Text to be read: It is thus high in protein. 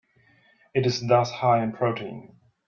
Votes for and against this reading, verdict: 2, 0, accepted